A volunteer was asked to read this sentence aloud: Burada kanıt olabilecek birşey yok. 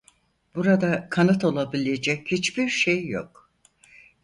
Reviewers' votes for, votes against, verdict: 0, 4, rejected